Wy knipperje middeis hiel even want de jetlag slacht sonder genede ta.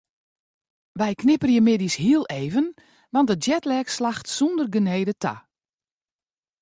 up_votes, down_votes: 2, 1